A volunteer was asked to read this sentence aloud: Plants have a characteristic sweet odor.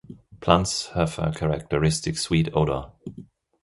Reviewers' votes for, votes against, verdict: 3, 0, accepted